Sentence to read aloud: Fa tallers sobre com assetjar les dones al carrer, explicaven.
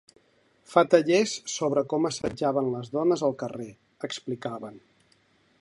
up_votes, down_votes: 1, 3